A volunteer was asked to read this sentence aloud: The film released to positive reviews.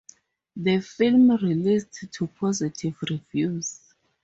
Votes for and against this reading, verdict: 0, 2, rejected